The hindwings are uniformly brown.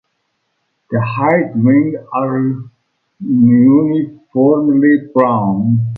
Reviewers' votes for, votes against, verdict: 1, 2, rejected